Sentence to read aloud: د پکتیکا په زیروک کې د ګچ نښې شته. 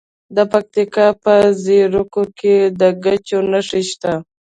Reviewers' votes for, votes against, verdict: 2, 0, accepted